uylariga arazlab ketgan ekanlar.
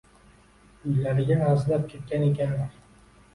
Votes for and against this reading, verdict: 2, 0, accepted